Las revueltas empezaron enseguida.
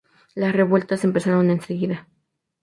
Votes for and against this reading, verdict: 0, 2, rejected